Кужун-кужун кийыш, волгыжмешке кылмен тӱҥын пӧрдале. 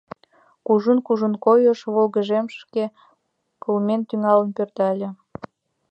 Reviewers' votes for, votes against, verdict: 1, 6, rejected